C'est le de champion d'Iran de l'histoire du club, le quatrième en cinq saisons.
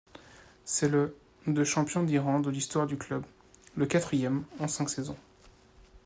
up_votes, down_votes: 2, 0